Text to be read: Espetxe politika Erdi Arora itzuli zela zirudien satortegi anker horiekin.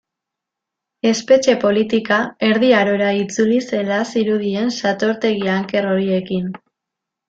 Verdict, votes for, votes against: accepted, 2, 0